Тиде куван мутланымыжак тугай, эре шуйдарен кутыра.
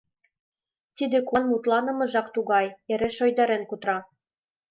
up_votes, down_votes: 2, 0